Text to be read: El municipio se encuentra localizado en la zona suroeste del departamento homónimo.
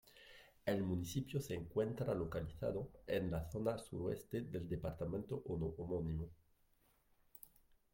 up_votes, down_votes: 1, 2